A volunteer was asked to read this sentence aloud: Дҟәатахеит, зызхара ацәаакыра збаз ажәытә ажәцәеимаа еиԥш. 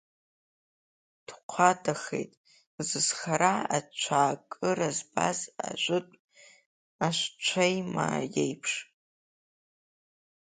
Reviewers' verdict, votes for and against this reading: rejected, 1, 2